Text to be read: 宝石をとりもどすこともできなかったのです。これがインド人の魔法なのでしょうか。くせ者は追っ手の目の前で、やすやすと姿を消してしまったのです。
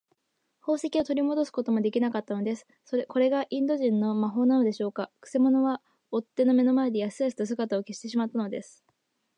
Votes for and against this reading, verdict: 0, 2, rejected